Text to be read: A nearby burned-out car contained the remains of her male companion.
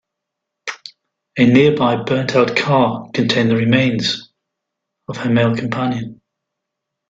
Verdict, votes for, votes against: accepted, 2, 0